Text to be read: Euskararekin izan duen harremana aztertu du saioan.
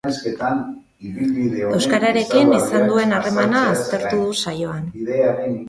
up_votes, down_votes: 0, 2